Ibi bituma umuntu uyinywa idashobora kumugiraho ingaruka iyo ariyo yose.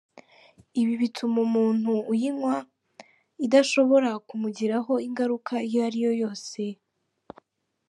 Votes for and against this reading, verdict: 3, 0, accepted